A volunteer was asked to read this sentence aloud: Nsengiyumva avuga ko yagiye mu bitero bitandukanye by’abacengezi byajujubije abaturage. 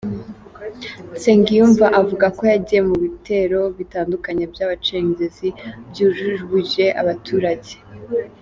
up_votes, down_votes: 0, 2